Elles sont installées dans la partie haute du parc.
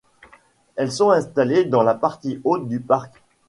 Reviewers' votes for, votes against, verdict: 2, 0, accepted